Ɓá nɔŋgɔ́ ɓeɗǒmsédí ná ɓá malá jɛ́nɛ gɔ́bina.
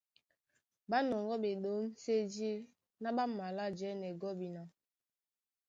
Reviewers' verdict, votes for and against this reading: accepted, 2, 0